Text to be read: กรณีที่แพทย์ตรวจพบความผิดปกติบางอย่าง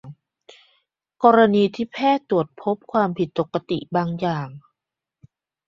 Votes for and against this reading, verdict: 2, 0, accepted